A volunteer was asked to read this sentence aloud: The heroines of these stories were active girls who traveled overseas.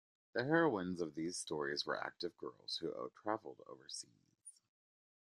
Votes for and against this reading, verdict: 1, 2, rejected